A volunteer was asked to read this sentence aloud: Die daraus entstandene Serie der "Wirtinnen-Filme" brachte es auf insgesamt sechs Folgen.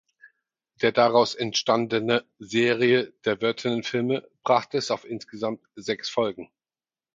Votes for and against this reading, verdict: 0, 4, rejected